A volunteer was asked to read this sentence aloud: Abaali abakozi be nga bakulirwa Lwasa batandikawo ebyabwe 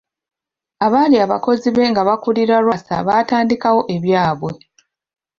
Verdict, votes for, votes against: accepted, 2, 1